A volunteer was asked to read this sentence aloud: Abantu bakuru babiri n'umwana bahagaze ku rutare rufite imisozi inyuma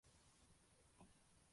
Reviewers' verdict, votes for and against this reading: rejected, 0, 2